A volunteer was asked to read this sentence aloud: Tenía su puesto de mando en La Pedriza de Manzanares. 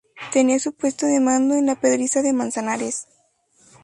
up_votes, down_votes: 0, 2